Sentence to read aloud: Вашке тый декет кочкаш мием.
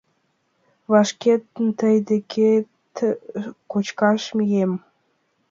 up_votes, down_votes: 2, 1